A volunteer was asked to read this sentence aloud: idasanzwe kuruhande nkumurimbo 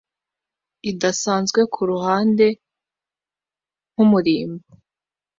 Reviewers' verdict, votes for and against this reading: accepted, 2, 0